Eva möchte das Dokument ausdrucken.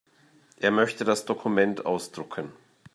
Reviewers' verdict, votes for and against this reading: rejected, 0, 2